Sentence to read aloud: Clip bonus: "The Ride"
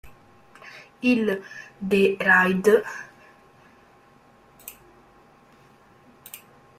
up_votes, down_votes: 0, 2